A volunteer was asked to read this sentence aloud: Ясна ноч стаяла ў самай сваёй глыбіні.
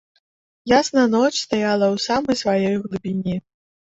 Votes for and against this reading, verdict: 2, 0, accepted